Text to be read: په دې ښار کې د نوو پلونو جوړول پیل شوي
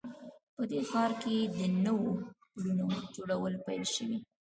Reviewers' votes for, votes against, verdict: 2, 1, accepted